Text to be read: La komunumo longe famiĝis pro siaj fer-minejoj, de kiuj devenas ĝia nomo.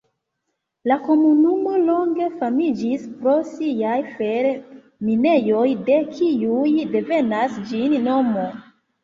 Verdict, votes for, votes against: rejected, 1, 2